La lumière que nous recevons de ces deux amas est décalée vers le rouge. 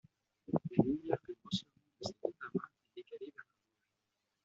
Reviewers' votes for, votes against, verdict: 0, 2, rejected